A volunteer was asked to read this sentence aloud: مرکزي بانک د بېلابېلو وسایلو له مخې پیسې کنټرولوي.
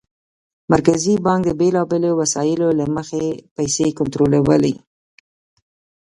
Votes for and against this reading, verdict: 2, 1, accepted